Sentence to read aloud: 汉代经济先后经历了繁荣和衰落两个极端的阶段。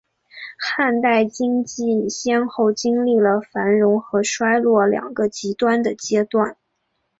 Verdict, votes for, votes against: accepted, 2, 0